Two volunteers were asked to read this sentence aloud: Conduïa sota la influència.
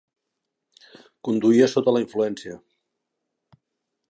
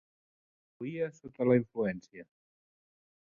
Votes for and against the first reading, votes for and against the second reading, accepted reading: 3, 0, 0, 2, first